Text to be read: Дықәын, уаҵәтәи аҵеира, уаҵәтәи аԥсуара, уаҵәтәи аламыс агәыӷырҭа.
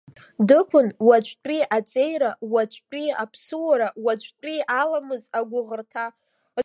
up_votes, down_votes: 2, 1